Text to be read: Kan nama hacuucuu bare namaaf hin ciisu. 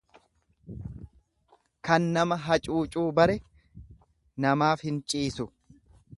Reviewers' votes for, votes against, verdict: 2, 0, accepted